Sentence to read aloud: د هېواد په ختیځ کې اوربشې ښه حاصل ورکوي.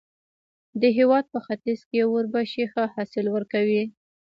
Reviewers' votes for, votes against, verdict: 2, 0, accepted